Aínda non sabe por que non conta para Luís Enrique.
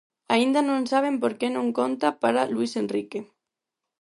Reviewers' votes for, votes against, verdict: 0, 4, rejected